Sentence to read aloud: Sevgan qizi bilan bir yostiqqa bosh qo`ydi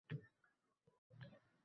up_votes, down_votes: 0, 2